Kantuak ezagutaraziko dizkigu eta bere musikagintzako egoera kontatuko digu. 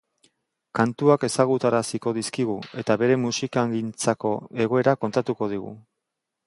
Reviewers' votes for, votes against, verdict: 3, 0, accepted